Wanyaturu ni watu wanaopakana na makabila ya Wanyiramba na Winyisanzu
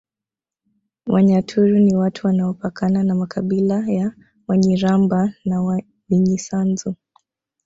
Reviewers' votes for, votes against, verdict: 1, 2, rejected